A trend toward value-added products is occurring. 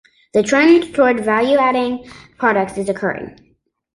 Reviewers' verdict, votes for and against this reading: rejected, 1, 2